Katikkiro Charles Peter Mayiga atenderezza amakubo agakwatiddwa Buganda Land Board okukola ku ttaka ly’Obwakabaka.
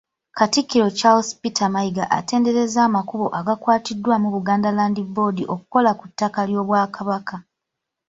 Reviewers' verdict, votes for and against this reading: rejected, 1, 2